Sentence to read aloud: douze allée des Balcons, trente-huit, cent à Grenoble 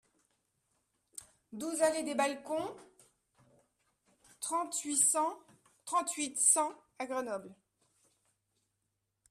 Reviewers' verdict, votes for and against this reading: rejected, 0, 2